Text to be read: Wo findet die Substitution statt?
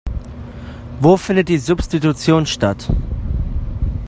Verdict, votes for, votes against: accepted, 2, 0